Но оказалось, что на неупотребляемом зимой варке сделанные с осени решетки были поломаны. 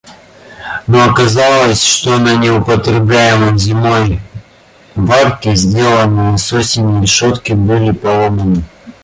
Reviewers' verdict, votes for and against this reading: accepted, 2, 0